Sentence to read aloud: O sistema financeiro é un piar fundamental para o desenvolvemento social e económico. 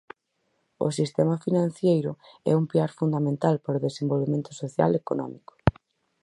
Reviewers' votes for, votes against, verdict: 0, 4, rejected